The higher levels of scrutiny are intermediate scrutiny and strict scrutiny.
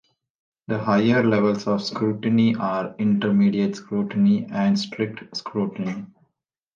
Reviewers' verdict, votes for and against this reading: accepted, 2, 0